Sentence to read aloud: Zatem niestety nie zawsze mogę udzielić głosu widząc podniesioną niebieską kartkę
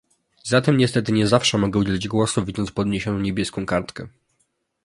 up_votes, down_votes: 2, 0